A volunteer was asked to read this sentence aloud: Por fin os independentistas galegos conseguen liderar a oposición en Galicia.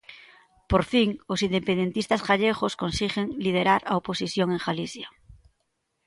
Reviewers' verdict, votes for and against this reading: rejected, 0, 2